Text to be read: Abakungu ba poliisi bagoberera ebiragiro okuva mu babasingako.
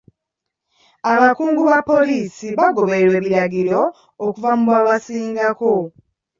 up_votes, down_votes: 2, 1